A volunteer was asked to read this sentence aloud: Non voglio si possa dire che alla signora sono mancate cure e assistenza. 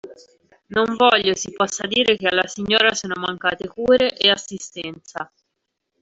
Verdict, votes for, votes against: rejected, 1, 2